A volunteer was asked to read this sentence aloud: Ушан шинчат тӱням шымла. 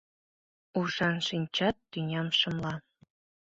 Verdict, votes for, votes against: accepted, 2, 0